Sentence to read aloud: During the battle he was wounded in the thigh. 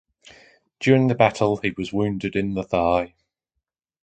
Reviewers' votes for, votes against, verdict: 2, 0, accepted